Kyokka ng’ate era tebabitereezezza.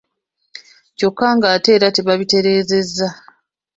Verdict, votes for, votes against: accepted, 2, 0